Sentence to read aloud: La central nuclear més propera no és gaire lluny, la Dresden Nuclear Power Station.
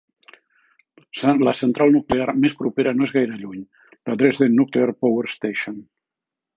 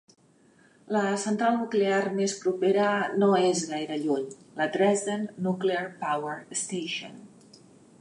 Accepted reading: second